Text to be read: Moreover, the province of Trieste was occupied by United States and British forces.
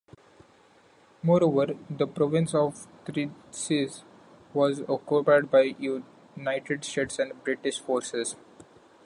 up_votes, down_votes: 0, 2